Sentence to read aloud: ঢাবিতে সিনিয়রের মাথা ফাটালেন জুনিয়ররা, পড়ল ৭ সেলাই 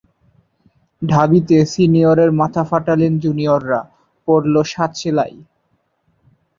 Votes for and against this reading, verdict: 0, 2, rejected